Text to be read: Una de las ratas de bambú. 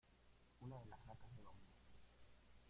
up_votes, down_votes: 0, 2